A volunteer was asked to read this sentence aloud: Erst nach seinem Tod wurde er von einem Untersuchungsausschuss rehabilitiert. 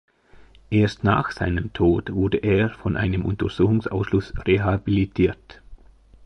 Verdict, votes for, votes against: rejected, 1, 2